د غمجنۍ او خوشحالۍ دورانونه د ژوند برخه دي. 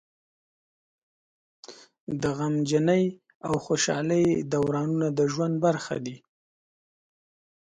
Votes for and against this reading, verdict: 2, 0, accepted